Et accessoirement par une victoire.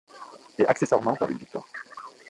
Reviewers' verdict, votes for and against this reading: accepted, 2, 1